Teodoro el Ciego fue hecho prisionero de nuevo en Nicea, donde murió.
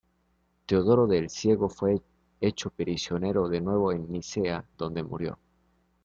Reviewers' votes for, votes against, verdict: 0, 2, rejected